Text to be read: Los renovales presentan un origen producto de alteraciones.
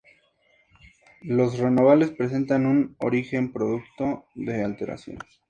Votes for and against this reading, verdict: 2, 2, rejected